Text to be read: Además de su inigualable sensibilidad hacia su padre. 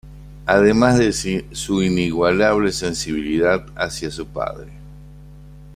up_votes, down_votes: 2, 0